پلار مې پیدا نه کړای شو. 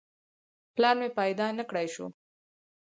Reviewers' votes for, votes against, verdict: 4, 2, accepted